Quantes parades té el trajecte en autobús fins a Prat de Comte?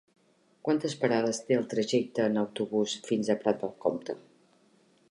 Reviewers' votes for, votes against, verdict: 1, 2, rejected